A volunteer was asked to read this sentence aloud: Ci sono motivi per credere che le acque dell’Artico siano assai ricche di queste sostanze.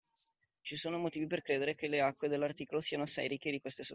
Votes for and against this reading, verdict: 0, 2, rejected